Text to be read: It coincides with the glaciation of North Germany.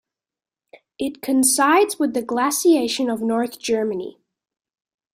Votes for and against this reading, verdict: 1, 2, rejected